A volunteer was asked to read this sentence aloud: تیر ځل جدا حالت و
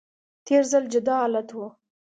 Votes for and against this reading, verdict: 2, 0, accepted